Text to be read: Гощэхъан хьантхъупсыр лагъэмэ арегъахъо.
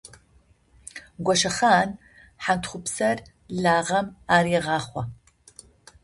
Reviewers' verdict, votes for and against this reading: rejected, 0, 2